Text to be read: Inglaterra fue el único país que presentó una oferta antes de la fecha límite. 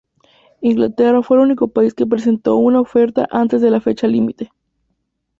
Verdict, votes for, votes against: accepted, 2, 0